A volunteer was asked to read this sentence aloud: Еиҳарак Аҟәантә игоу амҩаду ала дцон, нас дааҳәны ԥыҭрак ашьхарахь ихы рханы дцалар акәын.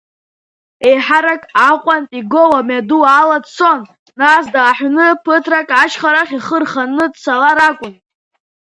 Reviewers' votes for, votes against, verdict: 2, 0, accepted